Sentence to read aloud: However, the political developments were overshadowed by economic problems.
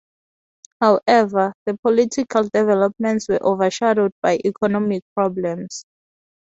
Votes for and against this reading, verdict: 0, 2, rejected